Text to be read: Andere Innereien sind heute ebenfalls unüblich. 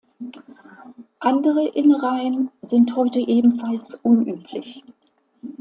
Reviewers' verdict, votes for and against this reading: accepted, 2, 0